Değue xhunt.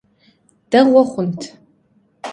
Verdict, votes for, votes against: accepted, 2, 0